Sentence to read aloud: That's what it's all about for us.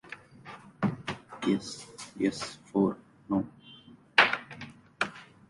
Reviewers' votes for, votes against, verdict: 0, 2, rejected